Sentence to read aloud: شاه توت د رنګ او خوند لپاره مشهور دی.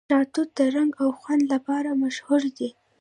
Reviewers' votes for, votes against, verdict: 2, 0, accepted